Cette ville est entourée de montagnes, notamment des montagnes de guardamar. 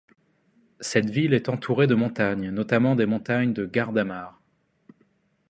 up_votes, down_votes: 2, 0